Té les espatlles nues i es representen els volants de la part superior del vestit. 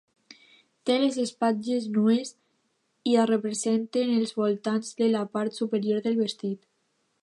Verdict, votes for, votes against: accepted, 2, 0